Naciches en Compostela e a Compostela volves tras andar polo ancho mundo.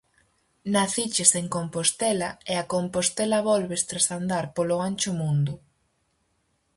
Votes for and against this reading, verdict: 4, 0, accepted